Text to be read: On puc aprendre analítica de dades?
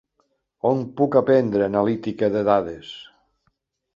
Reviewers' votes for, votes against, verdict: 5, 0, accepted